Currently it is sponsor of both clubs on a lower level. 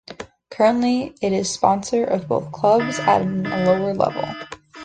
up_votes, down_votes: 1, 2